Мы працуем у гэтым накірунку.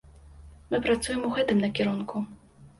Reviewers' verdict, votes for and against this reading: accepted, 2, 0